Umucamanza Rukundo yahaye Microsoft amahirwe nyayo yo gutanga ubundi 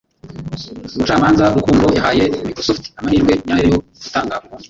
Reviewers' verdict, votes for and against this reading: rejected, 0, 2